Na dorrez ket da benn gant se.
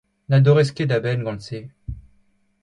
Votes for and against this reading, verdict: 2, 0, accepted